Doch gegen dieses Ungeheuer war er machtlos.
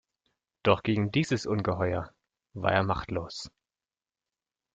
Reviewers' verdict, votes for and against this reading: accepted, 2, 0